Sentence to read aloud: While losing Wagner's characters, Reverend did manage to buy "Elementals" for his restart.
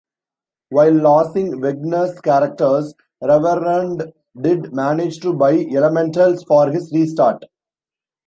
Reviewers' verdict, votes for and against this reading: rejected, 2, 3